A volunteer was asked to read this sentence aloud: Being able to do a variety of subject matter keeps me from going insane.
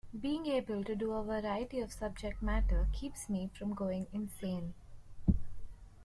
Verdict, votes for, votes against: accepted, 2, 0